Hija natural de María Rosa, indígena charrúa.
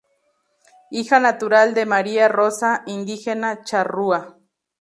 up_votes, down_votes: 2, 2